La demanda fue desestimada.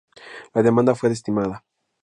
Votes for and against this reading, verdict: 2, 0, accepted